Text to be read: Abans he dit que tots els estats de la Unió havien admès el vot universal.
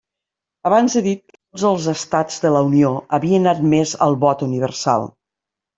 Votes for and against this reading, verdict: 0, 2, rejected